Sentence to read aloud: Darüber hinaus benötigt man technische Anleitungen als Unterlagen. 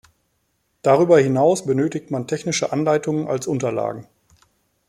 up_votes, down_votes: 2, 0